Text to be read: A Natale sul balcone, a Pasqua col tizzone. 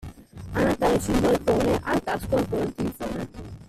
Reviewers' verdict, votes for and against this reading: rejected, 0, 2